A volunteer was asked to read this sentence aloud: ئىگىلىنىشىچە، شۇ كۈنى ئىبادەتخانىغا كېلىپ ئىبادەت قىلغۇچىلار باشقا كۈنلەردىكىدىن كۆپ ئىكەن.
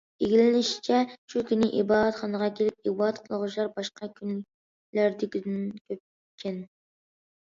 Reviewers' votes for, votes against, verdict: 1, 2, rejected